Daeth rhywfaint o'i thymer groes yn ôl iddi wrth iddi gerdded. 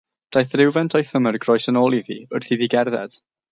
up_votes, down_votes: 3, 0